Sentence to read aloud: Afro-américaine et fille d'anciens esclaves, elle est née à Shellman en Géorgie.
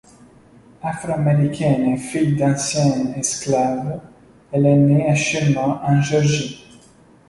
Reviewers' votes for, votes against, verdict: 1, 2, rejected